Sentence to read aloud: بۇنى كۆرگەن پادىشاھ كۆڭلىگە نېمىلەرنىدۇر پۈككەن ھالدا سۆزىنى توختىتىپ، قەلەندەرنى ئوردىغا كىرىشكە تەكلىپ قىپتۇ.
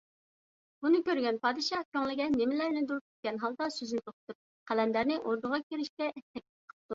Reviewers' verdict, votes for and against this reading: rejected, 1, 2